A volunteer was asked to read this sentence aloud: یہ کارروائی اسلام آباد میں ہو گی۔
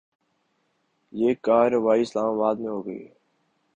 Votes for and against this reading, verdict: 1, 2, rejected